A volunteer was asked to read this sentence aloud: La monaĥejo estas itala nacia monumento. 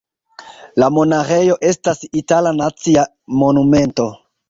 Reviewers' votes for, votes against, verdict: 2, 3, rejected